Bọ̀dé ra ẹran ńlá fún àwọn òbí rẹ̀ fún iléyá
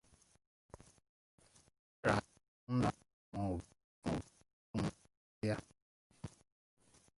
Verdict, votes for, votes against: rejected, 0, 2